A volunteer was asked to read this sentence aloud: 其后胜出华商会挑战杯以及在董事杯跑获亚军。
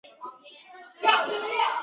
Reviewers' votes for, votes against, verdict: 0, 2, rejected